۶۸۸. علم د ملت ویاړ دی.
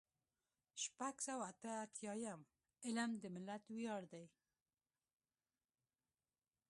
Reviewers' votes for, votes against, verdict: 0, 2, rejected